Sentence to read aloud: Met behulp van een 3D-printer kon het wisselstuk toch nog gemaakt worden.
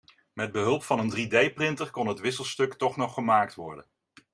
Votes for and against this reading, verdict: 0, 2, rejected